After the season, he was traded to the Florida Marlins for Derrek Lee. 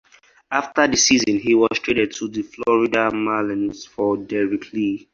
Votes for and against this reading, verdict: 4, 0, accepted